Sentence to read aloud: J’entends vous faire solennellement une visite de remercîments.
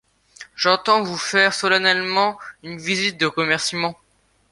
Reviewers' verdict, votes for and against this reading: accepted, 2, 0